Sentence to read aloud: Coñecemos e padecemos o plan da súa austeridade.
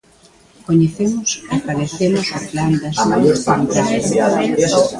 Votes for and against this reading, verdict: 0, 2, rejected